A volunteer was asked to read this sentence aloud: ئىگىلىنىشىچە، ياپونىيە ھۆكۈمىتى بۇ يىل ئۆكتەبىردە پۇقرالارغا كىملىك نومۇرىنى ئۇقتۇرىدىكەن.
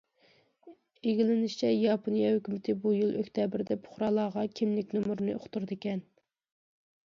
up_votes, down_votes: 2, 0